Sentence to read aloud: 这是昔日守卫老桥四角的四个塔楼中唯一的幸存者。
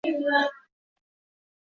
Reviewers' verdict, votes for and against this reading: rejected, 1, 3